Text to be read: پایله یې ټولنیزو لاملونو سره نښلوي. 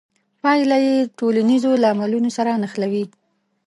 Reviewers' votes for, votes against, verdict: 1, 2, rejected